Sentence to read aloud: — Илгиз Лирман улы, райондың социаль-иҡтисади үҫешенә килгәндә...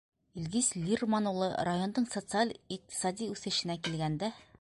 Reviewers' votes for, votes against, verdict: 2, 0, accepted